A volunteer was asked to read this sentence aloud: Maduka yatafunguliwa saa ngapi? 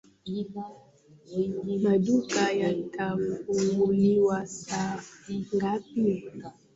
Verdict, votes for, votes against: rejected, 0, 2